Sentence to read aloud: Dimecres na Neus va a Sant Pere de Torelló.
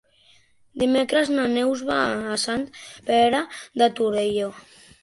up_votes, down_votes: 3, 0